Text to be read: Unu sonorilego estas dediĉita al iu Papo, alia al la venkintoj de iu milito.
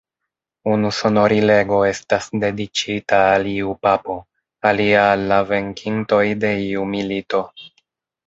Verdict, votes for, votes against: rejected, 1, 2